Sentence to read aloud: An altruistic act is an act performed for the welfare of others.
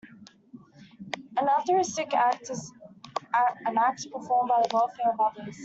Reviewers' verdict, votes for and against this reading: rejected, 0, 2